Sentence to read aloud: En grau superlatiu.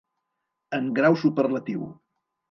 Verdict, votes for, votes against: accepted, 2, 0